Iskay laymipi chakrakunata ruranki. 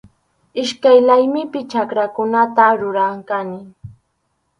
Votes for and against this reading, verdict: 2, 2, rejected